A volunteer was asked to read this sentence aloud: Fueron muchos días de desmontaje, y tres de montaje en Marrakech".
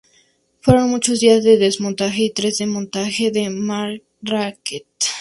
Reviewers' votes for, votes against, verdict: 4, 0, accepted